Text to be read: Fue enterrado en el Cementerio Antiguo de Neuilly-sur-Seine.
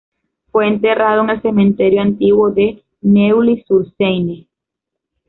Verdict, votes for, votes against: accepted, 2, 0